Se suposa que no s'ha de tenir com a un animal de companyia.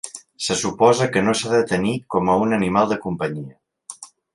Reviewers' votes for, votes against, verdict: 3, 0, accepted